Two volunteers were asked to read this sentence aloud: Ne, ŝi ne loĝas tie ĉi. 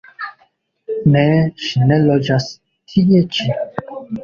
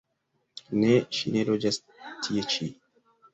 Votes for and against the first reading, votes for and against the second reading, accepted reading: 1, 2, 2, 0, second